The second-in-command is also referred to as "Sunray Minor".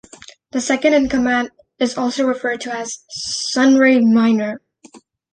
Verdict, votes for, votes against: accepted, 2, 0